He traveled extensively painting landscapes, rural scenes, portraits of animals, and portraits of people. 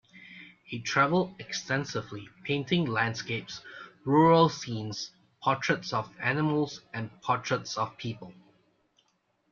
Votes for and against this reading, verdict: 2, 0, accepted